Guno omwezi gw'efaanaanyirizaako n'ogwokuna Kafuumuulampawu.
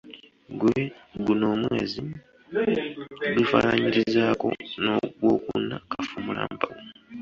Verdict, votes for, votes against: rejected, 1, 2